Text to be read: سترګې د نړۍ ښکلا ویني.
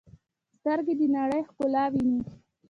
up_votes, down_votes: 2, 0